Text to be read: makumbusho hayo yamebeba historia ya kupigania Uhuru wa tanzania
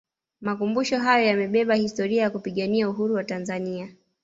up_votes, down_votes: 1, 2